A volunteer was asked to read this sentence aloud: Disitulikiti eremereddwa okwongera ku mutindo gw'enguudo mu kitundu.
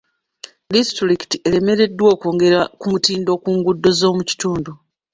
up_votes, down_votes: 0, 2